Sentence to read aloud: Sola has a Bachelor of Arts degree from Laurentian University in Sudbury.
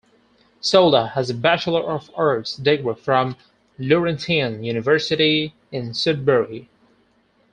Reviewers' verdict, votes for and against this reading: rejected, 2, 4